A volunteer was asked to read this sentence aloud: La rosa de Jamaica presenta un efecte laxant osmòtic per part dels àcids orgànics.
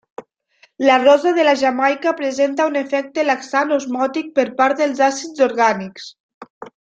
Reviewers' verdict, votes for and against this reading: rejected, 1, 2